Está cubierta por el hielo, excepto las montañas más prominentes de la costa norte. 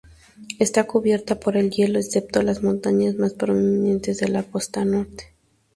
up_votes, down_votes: 2, 0